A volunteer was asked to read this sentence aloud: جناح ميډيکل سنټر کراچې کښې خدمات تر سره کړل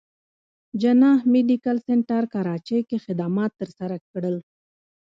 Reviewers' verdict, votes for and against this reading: accepted, 2, 0